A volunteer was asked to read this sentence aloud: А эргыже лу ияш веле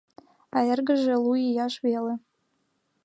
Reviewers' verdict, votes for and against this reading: accepted, 2, 0